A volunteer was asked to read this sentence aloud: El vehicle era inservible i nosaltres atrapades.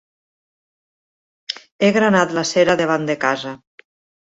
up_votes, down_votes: 1, 2